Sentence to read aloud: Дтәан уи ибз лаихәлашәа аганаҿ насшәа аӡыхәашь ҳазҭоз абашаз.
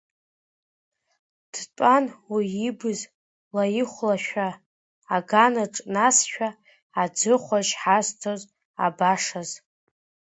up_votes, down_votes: 0, 2